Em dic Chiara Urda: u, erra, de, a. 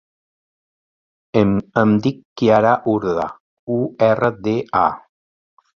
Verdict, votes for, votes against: rejected, 0, 2